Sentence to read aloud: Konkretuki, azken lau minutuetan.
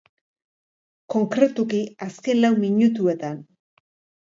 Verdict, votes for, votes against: accepted, 4, 0